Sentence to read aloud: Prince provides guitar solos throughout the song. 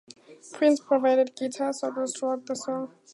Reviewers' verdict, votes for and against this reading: accepted, 2, 0